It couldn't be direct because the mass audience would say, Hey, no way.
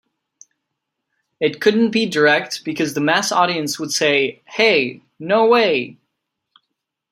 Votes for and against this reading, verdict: 2, 0, accepted